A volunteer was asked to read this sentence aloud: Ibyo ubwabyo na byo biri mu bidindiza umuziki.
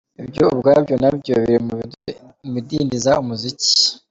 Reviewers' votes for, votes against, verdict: 2, 0, accepted